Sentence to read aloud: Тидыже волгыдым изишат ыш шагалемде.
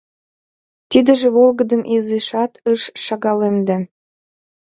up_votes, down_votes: 2, 0